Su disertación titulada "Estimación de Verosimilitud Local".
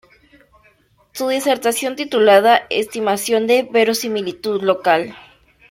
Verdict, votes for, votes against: accepted, 2, 1